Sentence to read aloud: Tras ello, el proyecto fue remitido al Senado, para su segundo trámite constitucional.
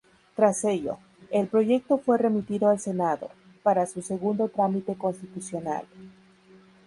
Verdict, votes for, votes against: accepted, 2, 0